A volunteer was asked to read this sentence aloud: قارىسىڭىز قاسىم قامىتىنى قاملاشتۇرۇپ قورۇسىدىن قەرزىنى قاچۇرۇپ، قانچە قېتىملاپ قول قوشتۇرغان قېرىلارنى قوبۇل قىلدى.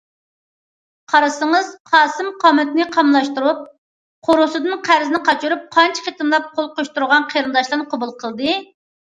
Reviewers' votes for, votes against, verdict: 0, 2, rejected